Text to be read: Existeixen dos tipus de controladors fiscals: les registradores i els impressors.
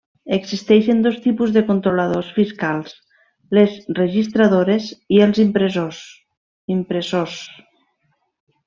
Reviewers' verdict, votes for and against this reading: rejected, 0, 2